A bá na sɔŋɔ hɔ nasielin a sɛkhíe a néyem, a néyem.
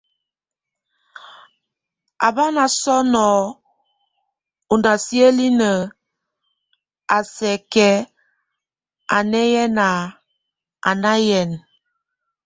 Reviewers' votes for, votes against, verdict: 0, 2, rejected